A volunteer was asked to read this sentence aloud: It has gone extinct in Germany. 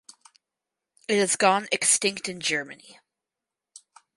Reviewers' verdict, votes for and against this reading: accepted, 4, 0